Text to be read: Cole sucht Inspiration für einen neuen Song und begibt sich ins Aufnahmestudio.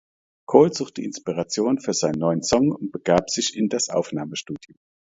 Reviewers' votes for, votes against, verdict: 1, 2, rejected